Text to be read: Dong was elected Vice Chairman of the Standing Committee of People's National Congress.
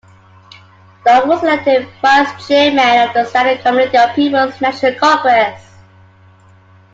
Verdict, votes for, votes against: rejected, 0, 2